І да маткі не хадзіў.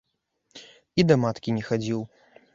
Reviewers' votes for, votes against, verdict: 2, 1, accepted